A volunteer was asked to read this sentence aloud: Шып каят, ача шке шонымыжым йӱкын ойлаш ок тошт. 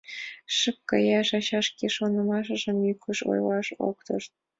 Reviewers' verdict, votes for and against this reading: accepted, 2, 0